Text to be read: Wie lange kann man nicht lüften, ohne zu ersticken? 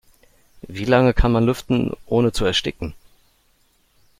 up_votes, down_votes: 0, 2